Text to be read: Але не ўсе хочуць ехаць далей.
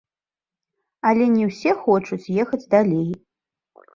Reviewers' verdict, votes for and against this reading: accepted, 2, 0